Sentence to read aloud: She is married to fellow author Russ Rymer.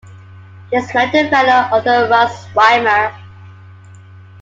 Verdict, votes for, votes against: rejected, 0, 2